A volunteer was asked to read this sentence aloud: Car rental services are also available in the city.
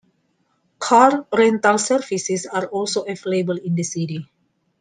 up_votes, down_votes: 2, 0